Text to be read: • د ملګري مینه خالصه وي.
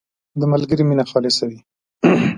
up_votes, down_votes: 0, 2